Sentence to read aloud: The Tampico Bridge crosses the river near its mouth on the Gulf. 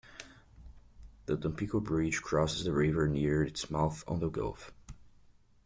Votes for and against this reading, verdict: 2, 0, accepted